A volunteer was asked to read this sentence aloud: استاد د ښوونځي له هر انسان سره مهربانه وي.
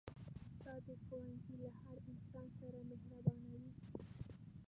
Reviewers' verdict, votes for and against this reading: rejected, 1, 2